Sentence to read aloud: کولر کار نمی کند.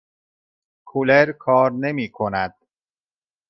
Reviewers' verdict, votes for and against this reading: accepted, 2, 0